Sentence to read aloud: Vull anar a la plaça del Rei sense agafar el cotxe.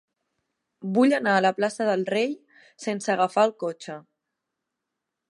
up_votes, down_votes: 3, 0